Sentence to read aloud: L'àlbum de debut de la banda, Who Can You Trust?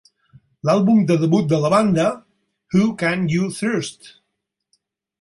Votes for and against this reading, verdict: 0, 4, rejected